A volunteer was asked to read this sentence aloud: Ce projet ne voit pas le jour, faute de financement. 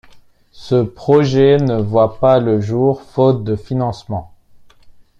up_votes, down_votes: 2, 0